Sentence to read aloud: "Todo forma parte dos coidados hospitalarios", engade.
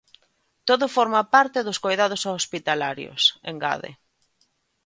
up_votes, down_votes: 2, 0